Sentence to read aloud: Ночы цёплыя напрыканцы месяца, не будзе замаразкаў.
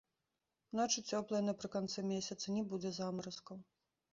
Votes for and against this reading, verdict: 2, 0, accepted